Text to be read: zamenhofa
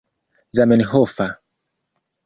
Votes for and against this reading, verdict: 2, 1, accepted